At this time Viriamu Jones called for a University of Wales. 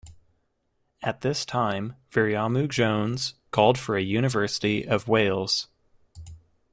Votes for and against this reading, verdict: 2, 0, accepted